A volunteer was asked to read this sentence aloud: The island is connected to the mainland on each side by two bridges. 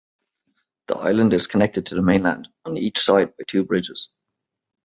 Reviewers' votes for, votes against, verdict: 2, 1, accepted